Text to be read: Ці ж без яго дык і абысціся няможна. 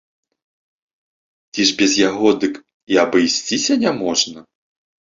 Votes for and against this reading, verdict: 2, 0, accepted